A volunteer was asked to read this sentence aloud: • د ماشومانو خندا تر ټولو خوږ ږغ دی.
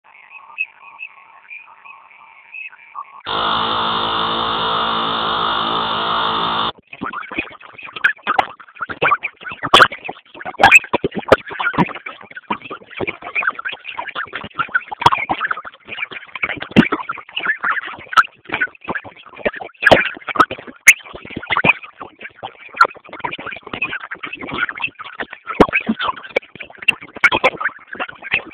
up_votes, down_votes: 0, 11